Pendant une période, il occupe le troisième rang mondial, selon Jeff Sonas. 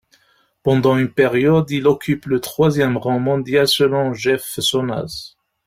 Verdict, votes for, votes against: rejected, 1, 2